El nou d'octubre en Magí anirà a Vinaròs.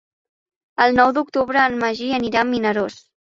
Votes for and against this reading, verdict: 1, 2, rejected